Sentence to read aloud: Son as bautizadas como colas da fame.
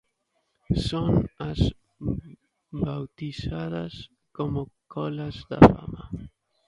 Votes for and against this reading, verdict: 0, 2, rejected